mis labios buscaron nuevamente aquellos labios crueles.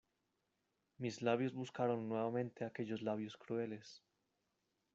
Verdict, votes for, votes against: accepted, 2, 1